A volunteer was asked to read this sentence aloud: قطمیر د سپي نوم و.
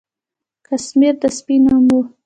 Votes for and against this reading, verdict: 0, 2, rejected